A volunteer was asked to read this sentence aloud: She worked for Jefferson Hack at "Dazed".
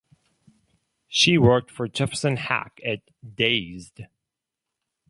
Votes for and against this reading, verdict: 2, 2, rejected